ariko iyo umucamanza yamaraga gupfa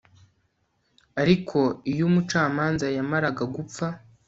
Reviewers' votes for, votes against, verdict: 2, 0, accepted